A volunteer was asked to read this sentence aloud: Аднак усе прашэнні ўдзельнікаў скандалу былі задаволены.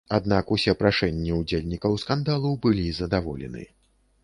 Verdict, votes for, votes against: accepted, 2, 0